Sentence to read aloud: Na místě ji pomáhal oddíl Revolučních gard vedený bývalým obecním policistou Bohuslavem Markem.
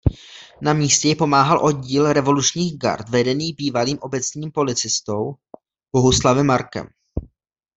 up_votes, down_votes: 2, 0